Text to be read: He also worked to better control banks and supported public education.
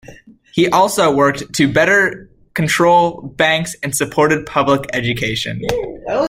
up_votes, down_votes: 2, 1